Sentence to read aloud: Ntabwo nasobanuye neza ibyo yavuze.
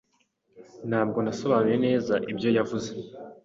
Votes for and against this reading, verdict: 2, 0, accepted